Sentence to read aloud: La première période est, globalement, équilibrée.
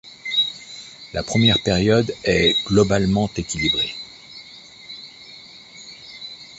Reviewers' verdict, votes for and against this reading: rejected, 1, 2